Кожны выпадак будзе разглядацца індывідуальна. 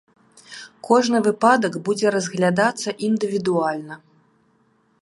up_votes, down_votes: 0, 2